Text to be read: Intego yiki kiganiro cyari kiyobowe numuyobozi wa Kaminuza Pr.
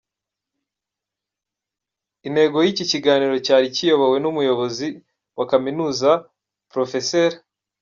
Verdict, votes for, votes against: accepted, 2, 0